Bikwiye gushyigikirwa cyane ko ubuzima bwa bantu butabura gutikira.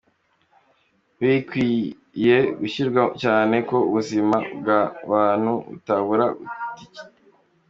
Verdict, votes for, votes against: rejected, 0, 2